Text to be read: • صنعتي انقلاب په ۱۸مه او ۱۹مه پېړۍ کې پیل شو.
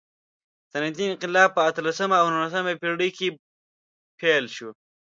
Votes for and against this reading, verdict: 0, 2, rejected